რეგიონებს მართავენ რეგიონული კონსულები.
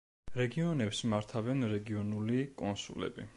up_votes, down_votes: 2, 0